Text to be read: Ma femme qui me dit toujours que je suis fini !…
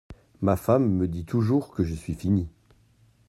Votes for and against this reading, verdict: 0, 2, rejected